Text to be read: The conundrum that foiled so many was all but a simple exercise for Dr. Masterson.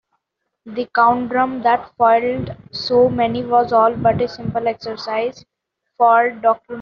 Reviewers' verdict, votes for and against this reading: rejected, 0, 2